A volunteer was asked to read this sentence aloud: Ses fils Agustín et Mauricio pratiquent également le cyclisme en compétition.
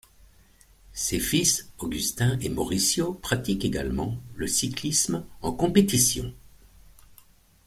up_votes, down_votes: 0, 2